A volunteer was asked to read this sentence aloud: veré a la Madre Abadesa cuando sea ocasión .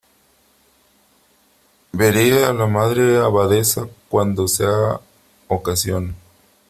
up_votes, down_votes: 3, 2